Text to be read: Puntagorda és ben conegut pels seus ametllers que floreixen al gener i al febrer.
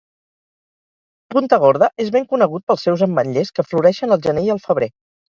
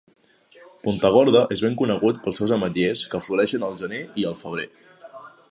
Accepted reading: second